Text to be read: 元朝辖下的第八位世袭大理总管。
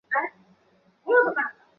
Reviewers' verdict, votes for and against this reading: rejected, 0, 3